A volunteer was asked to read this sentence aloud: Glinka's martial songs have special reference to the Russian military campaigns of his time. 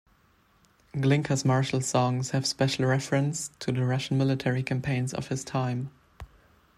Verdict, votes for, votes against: rejected, 1, 2